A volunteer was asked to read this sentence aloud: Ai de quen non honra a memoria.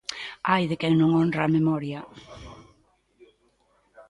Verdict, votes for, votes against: rejected, 1, 2